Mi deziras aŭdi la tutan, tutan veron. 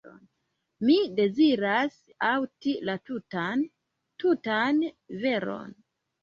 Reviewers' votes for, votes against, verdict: 0, 2, rejected